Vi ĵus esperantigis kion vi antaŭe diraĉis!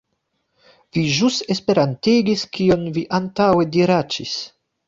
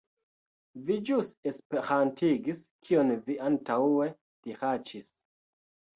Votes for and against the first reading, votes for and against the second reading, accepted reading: 2, 1, 0, 2, first